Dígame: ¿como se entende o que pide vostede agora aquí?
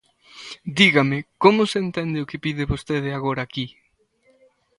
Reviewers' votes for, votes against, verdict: 2, 0, accepted